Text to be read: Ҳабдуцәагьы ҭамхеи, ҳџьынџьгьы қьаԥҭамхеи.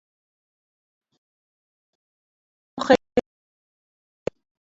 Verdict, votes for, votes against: rejected, 0, 2